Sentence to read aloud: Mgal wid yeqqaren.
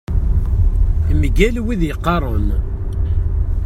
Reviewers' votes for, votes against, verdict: 2, 0, accepted